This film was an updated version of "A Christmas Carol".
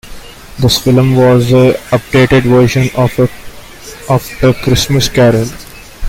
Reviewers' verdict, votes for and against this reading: rejected, 0, 2